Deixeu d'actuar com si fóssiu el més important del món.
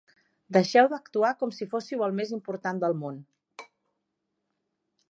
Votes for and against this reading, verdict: 4, 0, accepted